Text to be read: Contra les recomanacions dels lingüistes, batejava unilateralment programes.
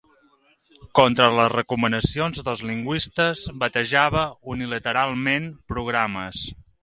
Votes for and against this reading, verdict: 2, 0, accepted